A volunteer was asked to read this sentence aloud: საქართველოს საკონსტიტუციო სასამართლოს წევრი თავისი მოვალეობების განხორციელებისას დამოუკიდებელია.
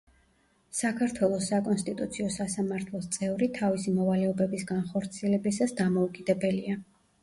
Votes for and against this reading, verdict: 2, 1, accepted